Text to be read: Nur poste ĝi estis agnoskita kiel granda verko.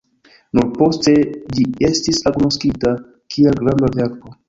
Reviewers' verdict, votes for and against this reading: rejected, 0, 2